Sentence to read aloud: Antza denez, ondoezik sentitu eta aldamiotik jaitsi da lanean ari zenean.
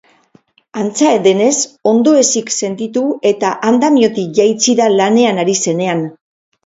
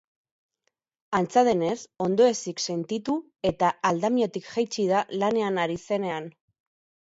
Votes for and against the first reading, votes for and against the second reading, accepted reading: 2, 2, 4, 0, second